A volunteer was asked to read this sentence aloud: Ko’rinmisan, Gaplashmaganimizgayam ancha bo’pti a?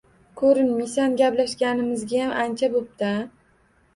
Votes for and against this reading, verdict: 2, 0, accepted